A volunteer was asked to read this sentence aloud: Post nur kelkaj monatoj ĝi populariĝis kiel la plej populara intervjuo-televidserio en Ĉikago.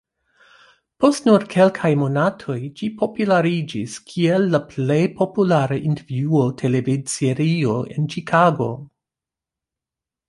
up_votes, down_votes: 0, 2